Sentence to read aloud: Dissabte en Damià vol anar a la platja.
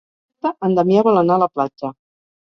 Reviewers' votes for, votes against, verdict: 0, 6, rejected